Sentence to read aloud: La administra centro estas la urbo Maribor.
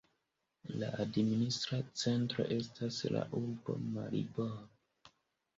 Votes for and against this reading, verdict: 3, 0, accepted